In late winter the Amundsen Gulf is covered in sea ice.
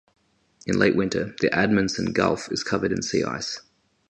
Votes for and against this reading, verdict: 2, 2, rejected